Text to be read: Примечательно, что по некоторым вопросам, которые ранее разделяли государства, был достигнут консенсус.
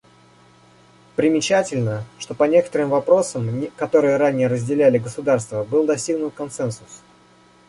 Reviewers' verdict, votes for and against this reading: rejected, 1, 2